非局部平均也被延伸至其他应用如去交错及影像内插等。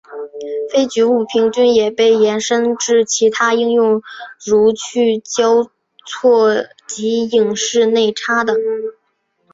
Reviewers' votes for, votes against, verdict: 0, 2, rejected